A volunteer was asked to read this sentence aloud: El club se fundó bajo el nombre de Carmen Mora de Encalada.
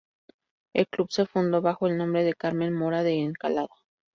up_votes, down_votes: 2, 0